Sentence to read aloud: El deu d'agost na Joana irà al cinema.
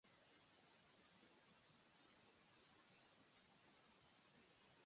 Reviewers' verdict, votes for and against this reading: rejected, 0, 2